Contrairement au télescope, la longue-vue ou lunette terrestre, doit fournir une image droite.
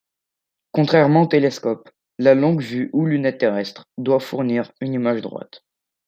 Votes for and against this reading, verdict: 2, 1, accepted